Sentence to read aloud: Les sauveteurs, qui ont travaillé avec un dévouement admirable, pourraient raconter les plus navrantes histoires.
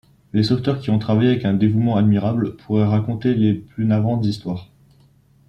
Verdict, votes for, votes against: accepted, 2, 0